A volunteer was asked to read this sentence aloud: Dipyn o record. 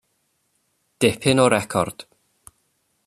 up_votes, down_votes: 2, 0